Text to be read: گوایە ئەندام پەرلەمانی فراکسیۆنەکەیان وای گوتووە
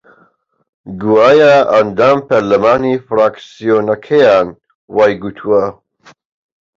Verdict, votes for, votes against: accepted, 2, 0